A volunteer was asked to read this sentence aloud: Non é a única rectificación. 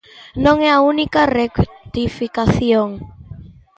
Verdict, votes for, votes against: accepted, 2, 1